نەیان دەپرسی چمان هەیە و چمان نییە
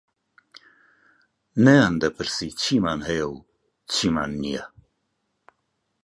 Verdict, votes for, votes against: rejected, 0, 2